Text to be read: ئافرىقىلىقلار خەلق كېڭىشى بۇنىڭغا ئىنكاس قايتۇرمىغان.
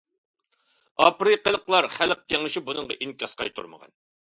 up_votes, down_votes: 2, 0